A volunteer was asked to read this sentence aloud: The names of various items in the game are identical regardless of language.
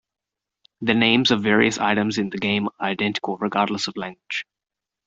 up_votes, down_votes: 1, 2